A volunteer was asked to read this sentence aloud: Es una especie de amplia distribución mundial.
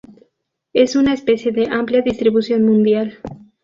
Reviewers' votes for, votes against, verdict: 2, 0, accepted